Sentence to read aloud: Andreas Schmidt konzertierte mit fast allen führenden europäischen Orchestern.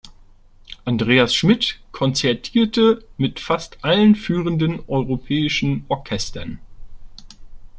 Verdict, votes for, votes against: accepted, 2, 0